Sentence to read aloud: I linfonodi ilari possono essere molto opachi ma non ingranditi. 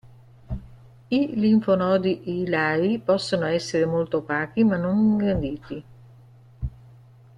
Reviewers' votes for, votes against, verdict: 2, 1, accepted